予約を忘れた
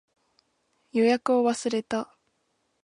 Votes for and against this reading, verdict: 2, 0, accepted